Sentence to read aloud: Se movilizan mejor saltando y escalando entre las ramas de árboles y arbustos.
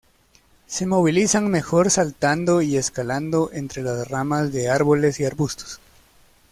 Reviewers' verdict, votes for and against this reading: accepted, 2, 0